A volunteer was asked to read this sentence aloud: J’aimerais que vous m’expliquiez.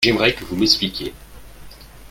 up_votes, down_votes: 4, 1